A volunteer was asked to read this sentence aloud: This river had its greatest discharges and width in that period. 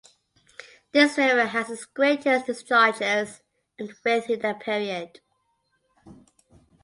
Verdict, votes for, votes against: accepted, 2, 0